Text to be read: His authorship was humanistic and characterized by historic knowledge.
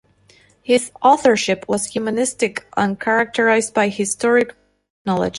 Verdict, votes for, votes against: accepted, 2, 0